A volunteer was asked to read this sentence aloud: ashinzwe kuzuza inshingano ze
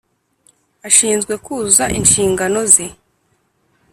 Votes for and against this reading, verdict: 3, 0, accepted